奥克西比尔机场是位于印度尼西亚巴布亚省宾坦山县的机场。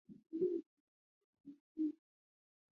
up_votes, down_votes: 1, 2